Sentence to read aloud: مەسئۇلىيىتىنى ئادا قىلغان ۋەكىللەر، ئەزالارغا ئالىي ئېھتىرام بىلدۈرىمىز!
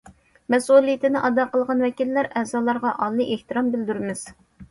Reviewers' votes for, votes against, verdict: 2, 0, accepted